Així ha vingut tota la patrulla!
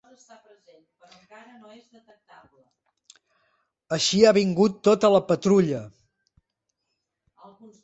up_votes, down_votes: 1, 2